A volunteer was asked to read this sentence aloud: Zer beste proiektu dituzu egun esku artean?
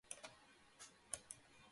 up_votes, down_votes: 0, 2